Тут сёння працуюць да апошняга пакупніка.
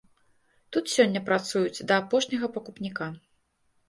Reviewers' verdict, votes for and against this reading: accepted, 2, 0